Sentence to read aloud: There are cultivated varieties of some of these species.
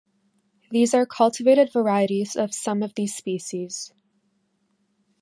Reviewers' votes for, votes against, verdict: 1, 2, rejected